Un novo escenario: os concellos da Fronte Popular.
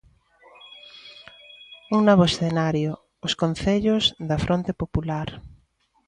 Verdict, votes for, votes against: accepted, 2, 0